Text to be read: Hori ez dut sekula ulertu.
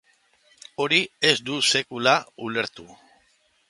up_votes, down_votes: 2, 0